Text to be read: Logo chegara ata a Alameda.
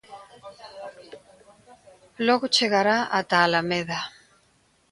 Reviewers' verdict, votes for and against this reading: rejected, 0, 2